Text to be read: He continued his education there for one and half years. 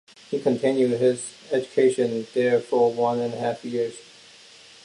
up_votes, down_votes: 2, 0